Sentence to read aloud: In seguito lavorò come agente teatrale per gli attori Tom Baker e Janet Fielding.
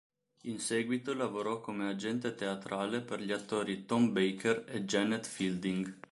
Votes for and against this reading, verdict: 2, 0, accepted